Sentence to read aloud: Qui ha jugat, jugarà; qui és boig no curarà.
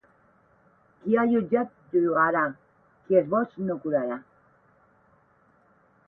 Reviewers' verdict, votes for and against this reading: rejected, 0, 8